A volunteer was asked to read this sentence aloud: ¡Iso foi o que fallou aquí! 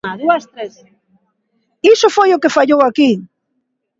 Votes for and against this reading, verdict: 0, 2, rejected